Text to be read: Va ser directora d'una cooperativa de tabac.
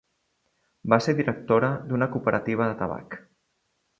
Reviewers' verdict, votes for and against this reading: accepted, 2, 0